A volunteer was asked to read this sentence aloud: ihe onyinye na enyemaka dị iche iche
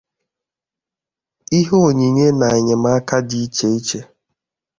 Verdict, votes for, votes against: accepted, 2, 0